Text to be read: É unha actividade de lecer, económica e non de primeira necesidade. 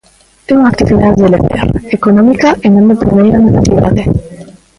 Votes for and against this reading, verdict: 0, 2, rejected